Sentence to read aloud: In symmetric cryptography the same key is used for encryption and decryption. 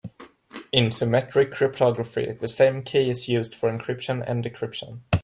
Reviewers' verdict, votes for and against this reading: accepted, 2, 0